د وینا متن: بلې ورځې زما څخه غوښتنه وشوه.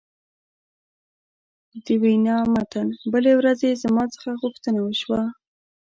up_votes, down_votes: 2, 0